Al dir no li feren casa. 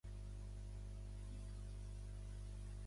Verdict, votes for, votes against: rejected, 0, 2